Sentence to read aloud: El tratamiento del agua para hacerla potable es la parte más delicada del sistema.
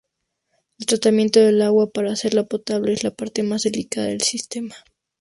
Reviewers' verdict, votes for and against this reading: accepted, 2, 0